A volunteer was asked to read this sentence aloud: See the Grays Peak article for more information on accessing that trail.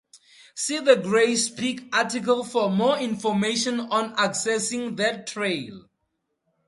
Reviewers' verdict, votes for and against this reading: accepted, 2, 0